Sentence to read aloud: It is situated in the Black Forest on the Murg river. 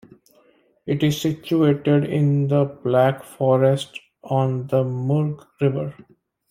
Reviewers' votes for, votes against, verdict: 2, 0, accepted